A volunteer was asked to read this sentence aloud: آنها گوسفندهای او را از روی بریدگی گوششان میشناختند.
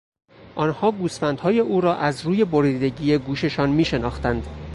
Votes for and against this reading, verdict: 2, 0, accepted